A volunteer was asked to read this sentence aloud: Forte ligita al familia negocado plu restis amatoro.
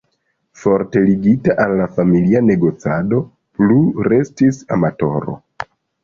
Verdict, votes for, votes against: accepted, 2, 0